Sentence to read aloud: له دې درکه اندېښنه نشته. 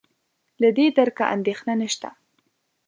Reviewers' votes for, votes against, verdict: 4, 0, accepted